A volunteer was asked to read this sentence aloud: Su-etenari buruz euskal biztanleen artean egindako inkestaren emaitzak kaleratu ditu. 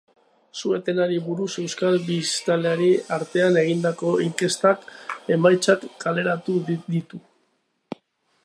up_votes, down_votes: 2, 1